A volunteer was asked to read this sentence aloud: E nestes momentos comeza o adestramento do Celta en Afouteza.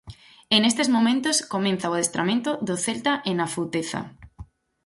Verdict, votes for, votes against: rejected, 0, 4